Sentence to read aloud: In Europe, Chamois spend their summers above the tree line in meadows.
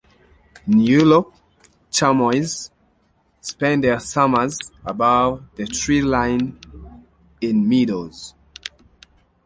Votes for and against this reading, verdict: 0, 2, rejected